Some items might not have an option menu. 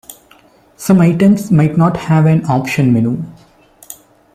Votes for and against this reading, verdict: 1, 2, rejected